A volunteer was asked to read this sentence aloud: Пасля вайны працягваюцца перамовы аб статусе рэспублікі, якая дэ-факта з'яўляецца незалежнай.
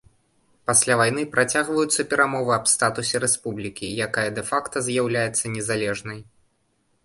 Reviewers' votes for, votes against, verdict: 2, 0, accepted